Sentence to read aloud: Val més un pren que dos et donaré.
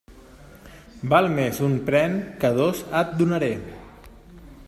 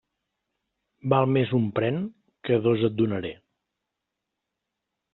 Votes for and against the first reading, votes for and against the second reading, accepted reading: 1, 2, 3, 0, second